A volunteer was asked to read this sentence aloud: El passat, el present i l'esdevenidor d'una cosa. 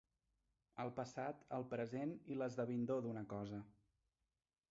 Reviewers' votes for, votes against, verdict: 0, 2, rejected